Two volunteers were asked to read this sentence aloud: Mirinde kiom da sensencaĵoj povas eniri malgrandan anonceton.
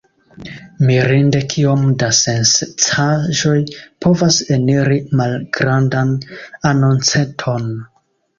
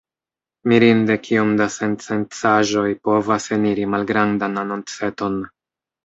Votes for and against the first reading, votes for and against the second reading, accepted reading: 2, 0, 0, 2, first